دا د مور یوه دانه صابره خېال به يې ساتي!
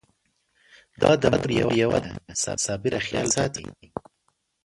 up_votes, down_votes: 1, 2